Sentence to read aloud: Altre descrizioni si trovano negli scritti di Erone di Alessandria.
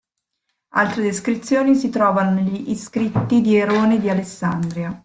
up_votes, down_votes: 0, 2